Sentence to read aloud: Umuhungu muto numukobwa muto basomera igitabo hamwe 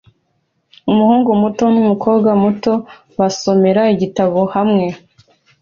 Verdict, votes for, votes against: accepted, 2, 0